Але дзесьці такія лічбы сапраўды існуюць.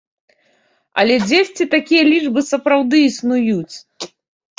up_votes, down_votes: 1, 2